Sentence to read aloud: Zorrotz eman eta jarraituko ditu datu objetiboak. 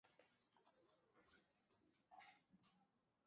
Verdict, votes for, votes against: rejected, 0, 2